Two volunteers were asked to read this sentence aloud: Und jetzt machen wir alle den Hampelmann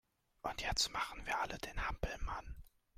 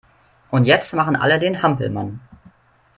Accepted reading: first